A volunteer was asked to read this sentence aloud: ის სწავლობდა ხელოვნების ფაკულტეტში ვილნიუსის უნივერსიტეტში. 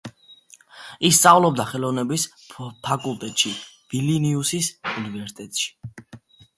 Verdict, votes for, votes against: rejected, 1, 2